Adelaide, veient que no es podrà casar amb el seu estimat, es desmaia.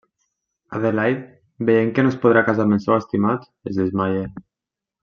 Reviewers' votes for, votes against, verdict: 1, 2, rejected